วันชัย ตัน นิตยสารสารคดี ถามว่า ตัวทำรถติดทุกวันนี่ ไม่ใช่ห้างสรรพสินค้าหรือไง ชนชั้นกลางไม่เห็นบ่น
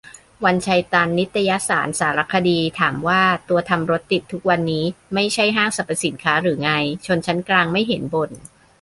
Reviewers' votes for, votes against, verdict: 0, 2, rejected